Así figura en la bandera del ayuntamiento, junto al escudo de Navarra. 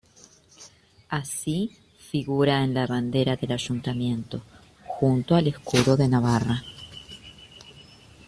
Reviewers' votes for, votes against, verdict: 1, 2, rejected